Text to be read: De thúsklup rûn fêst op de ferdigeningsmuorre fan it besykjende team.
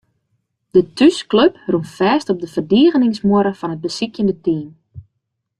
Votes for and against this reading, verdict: 2, 0, accepted